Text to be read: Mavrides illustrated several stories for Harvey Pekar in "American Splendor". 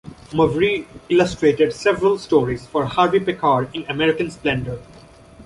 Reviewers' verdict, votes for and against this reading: rejected, 1, 2